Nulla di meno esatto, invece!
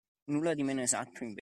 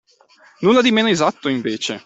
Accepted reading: second